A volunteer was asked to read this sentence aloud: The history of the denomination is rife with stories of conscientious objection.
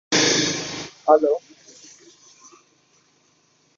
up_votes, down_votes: 0, 2